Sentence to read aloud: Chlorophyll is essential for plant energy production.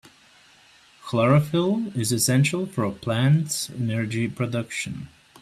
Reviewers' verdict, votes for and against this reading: rejected, 1, 2